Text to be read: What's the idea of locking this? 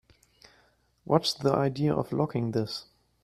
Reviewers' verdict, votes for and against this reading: accepted, 2, 0